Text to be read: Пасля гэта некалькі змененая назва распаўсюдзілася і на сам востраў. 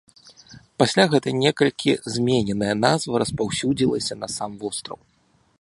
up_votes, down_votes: 2, 1